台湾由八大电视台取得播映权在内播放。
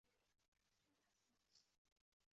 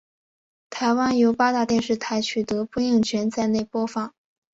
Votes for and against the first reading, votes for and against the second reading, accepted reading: 1, 2, 2, 0, second